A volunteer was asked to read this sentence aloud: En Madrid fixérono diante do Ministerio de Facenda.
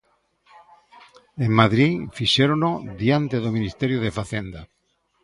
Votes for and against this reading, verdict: 0, 2, rejected